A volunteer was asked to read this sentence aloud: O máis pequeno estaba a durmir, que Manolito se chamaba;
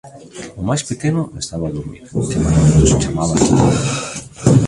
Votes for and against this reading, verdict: 0, 2, rejected